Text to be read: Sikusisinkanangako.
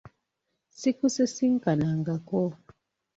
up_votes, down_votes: 2, 0